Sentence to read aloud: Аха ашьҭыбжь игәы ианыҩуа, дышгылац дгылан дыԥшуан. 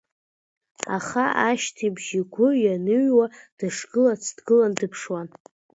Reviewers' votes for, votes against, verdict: 2, 0, accepted